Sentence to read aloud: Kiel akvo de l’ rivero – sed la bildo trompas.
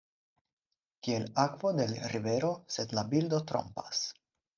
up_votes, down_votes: 4, 0